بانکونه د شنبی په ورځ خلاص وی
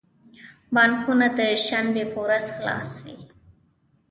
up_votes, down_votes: 0, 2